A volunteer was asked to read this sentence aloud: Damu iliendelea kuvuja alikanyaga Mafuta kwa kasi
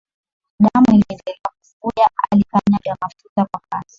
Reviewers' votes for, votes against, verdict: 0, 2, rejected